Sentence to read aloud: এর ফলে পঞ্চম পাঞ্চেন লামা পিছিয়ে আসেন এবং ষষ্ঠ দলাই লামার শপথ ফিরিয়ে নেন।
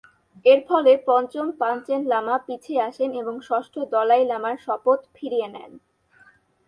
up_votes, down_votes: 2, 0